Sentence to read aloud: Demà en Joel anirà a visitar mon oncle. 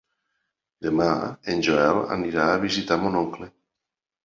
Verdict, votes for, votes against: accepted, 3, 0